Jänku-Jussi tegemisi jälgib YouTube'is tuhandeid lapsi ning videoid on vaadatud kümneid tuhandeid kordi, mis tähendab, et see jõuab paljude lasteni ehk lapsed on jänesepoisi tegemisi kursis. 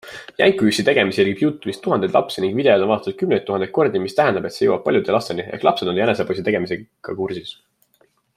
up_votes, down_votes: 0, 2